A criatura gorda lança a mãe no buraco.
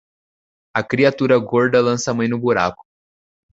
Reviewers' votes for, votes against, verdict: 1, 2, rejected